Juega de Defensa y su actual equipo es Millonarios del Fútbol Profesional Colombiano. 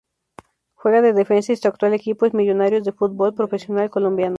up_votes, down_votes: 0, 2